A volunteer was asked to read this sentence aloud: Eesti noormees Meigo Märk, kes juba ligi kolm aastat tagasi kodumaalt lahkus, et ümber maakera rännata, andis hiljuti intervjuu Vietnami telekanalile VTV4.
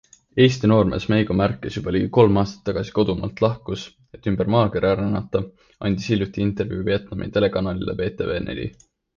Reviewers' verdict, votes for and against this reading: rejected, 0, 2